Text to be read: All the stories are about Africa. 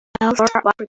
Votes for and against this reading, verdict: 0, 2, rejected